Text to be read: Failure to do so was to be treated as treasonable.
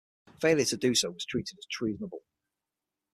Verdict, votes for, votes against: rejected, 3, 6